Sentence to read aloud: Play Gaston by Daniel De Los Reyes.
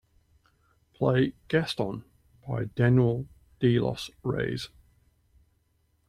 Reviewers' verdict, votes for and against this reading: rejected, 1, 2